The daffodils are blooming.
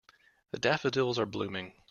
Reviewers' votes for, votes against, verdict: 3, 0, accepted